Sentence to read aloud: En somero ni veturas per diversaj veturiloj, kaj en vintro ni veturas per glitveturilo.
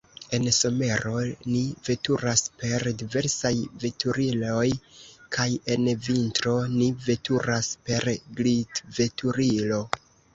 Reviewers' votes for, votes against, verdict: 0, 2, rejected